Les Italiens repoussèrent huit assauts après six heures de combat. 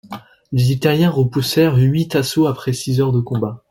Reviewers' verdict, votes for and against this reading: accepted, 2, 0